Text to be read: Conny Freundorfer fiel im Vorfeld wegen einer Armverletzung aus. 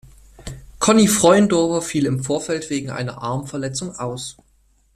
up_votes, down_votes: 2, 0